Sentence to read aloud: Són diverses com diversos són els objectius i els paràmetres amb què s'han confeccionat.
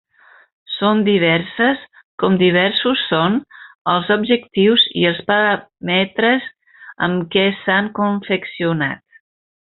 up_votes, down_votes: 3, 0